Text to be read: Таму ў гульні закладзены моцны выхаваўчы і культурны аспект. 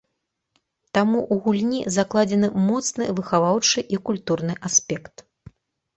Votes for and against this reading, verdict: 1, 2, rejected